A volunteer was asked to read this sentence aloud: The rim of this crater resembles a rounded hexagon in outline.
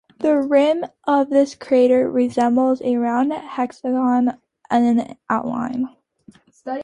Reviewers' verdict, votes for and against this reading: rejected, 0, 2